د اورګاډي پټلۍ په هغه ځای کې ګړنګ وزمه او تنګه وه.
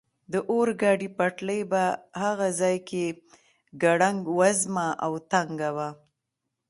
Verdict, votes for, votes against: rejected, 1, 2